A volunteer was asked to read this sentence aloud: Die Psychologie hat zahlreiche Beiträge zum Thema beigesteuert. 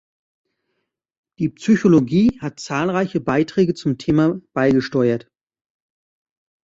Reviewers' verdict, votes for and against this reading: accepted, 2, 0